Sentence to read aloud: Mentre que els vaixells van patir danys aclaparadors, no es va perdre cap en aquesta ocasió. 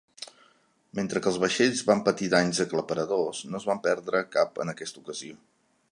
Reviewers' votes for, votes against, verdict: 1, 2, rejected